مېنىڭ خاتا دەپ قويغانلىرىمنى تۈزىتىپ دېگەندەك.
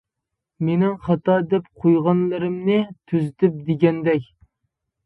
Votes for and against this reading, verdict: 2, 0, accepted